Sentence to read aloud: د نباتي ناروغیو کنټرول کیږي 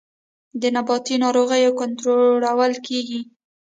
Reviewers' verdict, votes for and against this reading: rejected, 1, 2